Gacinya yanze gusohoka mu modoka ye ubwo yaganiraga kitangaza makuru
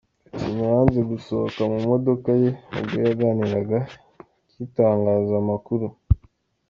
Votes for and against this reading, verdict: 3, 1, accepted